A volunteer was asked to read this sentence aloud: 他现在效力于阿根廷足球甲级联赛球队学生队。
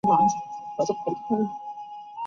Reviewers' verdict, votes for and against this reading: rejected, 0, 2